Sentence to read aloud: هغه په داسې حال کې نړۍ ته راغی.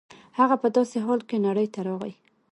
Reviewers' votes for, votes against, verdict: 2, 0, accepted